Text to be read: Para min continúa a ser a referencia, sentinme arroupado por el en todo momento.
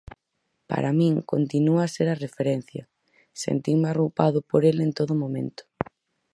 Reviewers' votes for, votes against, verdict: 4, 0, accepted